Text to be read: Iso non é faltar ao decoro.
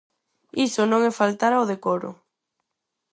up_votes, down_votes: 4, 0